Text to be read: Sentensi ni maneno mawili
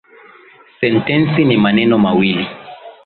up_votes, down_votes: 3, 0